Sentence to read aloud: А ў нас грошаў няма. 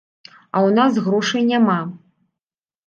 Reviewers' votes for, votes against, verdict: 1, 2, rejected